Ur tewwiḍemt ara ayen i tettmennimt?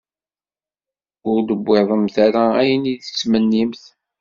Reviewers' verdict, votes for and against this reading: rejected, 1, 2